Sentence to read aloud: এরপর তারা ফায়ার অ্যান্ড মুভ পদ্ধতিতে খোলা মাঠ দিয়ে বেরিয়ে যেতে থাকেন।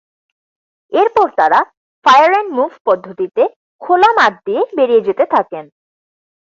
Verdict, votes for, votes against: accepted, 4, 0